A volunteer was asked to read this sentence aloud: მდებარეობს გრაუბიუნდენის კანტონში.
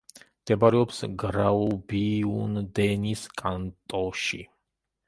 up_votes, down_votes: 1, 2